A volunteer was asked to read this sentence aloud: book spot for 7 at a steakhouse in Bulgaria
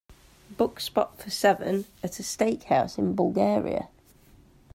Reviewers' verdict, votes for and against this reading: rejected, 0, 2